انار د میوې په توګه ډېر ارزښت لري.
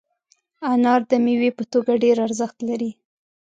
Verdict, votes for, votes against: accepted, 3, 0